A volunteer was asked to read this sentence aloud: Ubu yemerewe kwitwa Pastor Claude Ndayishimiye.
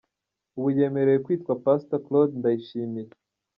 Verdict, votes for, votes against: rejected, 0, 2